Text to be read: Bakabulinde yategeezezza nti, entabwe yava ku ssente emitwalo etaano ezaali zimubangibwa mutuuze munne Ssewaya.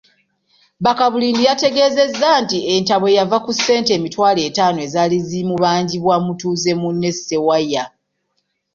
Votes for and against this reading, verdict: 0, 2, rejected